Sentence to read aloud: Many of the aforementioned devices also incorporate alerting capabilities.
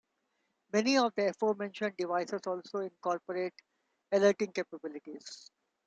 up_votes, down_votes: 2, 0